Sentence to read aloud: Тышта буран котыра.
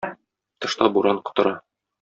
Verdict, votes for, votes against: accepted, 2, 0